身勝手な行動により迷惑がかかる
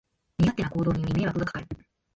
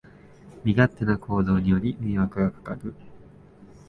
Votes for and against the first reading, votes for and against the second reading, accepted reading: 1, 2, 62, 6, second